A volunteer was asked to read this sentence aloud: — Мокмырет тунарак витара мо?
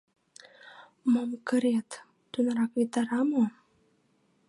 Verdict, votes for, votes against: rejected, 1, 2